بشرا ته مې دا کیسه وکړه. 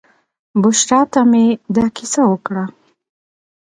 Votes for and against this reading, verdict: 0, 2, rejected